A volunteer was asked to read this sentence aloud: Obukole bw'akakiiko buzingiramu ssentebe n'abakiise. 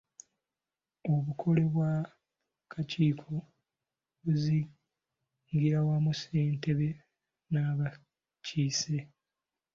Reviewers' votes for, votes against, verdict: 2, 0, accepted